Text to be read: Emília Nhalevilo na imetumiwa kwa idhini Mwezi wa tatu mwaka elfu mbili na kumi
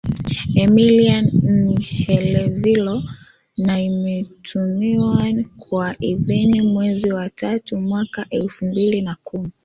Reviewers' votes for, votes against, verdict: 2, 1, accepted